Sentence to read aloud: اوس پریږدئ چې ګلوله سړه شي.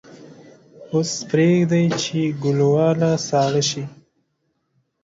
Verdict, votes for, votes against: rejected, 1, 2